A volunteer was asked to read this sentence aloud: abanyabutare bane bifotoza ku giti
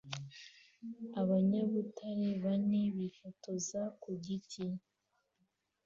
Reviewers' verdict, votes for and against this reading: accepted, 2, 0